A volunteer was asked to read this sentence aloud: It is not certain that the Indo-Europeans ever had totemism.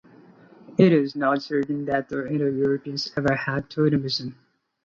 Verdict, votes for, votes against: rejected, 0, 2